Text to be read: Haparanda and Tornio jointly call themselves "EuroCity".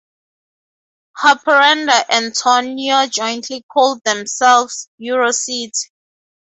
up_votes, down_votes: 2, 0